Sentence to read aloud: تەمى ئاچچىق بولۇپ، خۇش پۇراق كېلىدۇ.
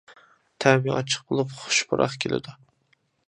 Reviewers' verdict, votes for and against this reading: accepted, 2, 0